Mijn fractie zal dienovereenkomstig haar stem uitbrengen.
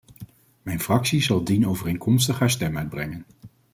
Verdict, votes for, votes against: accepted, 2, 0